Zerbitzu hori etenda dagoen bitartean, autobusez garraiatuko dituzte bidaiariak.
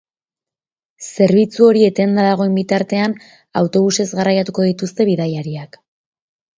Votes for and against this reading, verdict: 4, 0, accepted